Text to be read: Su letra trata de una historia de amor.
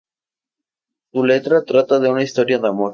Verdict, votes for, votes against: accepted, 2, 0